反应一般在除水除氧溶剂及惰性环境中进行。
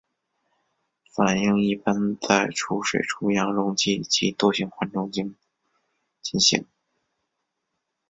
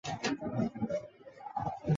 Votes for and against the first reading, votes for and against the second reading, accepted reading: 3, 0, 0, 2, first